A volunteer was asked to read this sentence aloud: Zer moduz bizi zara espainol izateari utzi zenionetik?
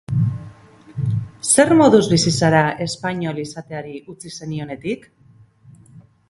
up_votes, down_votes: 6, 0